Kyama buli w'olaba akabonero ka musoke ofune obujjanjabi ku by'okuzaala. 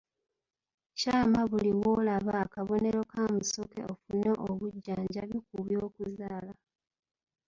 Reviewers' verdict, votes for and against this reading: rejected, 1, 2